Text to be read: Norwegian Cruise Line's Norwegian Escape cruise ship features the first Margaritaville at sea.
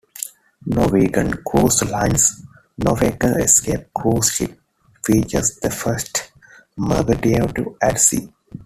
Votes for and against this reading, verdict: 0, 2, rejected